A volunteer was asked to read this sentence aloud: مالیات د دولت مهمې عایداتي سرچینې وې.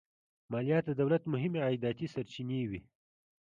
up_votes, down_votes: 2, 0